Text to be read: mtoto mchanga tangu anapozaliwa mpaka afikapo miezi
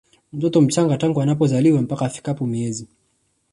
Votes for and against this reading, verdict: 2, 1, accepted